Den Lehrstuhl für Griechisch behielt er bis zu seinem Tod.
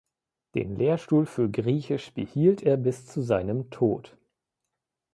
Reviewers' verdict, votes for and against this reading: accepted, 2, 0